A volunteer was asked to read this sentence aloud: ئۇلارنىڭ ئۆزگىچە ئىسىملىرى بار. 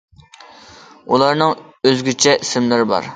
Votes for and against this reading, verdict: 2, 0, accepted